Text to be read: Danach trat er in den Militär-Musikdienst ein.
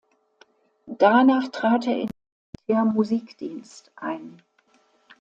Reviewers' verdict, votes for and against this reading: rejected, 0, 2